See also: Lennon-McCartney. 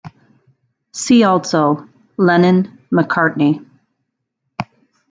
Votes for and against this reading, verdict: 2, 0, accepted